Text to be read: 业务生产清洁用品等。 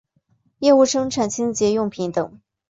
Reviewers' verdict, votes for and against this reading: accepted, 2, 0